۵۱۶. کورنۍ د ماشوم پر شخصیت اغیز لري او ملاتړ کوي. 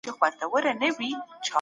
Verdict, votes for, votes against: rejected, 0, 2